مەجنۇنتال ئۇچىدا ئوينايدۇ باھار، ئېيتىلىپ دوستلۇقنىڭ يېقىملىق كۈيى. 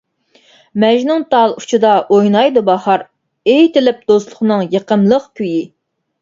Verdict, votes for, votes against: accepted, 2, 0